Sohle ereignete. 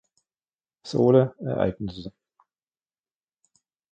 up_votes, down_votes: 0, 2